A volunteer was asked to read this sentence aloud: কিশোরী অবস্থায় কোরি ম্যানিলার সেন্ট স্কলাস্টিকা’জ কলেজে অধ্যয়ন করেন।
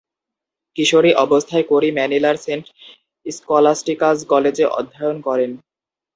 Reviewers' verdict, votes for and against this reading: accepted, 2, 0